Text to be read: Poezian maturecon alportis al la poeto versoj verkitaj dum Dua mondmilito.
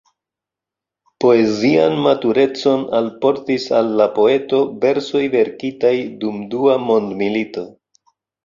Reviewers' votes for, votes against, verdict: 2, 0, accepted